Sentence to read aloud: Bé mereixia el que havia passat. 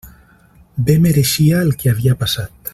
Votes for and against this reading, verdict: 3, 0, accepted